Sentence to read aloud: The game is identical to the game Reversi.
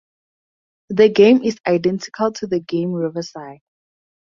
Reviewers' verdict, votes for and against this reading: accepted, 2, 0